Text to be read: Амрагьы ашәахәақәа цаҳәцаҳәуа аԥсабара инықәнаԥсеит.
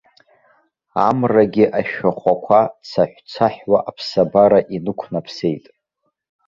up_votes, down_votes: 2, 1